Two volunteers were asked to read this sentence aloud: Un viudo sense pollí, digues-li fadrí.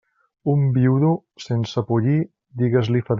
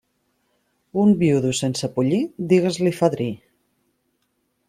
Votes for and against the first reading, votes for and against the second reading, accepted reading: 0, 2, 2, 0, second